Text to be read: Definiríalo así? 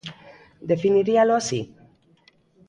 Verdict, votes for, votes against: accepted, 2, 0